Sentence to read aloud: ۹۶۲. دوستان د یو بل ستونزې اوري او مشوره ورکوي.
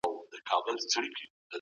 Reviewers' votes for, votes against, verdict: 0, 2, rejected